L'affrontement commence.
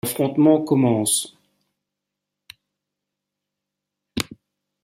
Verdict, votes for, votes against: accepted, 2, 1